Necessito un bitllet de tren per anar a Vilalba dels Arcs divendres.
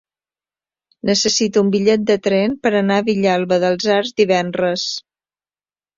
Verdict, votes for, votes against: rejected, 1, 2